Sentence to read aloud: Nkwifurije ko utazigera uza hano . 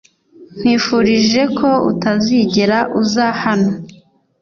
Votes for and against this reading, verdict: 2, 0, accepted